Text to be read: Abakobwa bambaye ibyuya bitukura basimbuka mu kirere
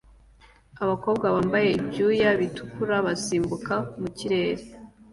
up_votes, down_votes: 2, 0